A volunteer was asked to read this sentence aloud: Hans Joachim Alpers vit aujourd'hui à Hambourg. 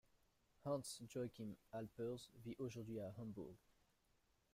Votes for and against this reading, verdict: 2, 0, accepted